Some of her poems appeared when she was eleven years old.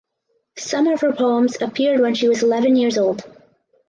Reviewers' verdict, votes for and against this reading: accepted, 4, 0